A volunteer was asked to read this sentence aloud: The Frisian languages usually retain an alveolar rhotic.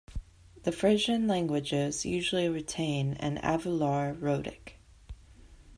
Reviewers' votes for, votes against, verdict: 0, 2, rejected